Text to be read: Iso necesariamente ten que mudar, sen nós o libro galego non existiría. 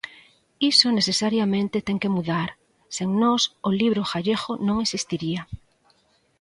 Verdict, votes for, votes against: rejected, 0, 3